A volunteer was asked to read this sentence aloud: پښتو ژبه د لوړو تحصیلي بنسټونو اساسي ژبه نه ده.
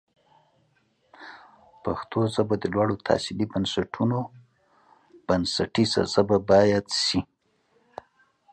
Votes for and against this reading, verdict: 1, 2, rejected